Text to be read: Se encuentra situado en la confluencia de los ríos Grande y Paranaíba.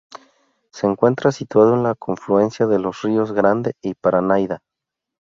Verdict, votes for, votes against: rejected, 2, 4